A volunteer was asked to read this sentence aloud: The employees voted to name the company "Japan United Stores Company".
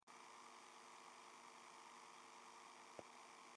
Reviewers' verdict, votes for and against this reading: rejected, 0, 2